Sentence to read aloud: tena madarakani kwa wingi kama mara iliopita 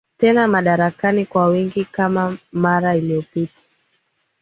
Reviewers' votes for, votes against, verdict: 2, 0, accepted